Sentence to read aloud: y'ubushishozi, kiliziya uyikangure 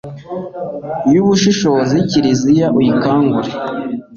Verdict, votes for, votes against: accepted, 2, 0